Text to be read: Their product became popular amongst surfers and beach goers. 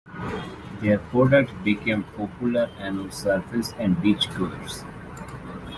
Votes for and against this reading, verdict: 1, 2, rejected